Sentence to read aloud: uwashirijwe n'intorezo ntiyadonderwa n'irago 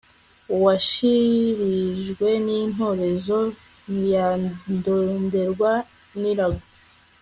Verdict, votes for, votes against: accepted, 2, 0